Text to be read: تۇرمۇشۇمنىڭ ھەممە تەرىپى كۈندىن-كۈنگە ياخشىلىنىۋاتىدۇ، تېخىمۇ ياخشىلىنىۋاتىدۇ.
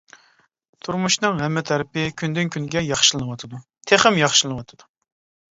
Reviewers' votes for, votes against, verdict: 1, 2, rejected